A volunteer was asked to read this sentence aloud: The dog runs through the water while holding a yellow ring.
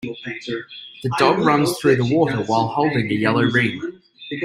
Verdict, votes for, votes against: accepted, 2, 0